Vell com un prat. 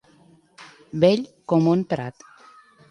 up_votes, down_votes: 2, 0